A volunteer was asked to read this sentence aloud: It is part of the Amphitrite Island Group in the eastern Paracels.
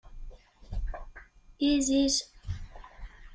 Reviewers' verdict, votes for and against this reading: rejected, 0, 2